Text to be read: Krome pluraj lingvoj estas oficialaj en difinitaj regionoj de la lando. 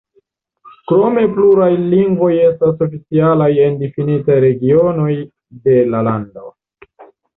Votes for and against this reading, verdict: 1, 2, rejected